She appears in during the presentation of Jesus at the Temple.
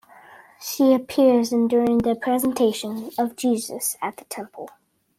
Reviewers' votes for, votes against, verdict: 2, 0, accepted